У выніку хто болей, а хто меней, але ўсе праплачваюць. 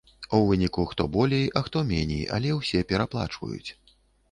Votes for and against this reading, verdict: 0, 2, rejected